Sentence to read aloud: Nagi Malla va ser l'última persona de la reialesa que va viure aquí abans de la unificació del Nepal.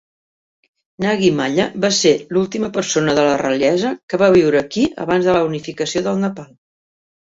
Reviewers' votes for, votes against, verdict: 0, 3, rejected